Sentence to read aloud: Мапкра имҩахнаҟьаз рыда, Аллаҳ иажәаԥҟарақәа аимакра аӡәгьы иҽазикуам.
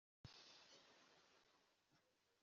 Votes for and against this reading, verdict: 0, 2, rejected